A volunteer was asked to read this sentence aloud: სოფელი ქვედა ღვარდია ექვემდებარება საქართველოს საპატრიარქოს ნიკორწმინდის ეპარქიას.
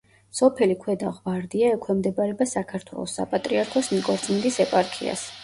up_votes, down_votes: 2, 0